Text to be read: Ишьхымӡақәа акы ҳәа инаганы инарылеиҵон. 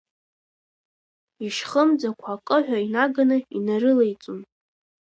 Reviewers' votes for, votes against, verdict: 2, 1, accepted